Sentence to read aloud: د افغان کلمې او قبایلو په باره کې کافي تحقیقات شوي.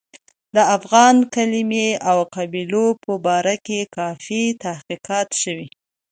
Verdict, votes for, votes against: rejected, 1, 2